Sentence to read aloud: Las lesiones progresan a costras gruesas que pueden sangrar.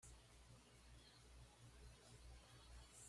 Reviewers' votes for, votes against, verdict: 1, 2, rejected